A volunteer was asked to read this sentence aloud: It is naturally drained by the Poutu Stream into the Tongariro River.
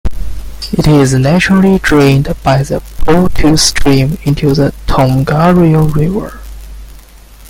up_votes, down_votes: 0, 2